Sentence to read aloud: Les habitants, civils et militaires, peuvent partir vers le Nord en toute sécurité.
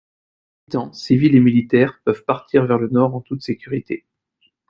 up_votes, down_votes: 0, 2